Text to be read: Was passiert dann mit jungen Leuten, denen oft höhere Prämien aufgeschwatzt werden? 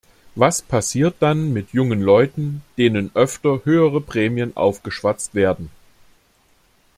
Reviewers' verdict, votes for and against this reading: rejected, 0, 2